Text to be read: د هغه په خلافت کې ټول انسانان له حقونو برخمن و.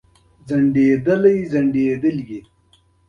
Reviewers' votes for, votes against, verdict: 1, 2, rejected